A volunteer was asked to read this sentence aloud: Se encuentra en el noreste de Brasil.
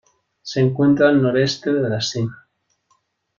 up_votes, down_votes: 0, 2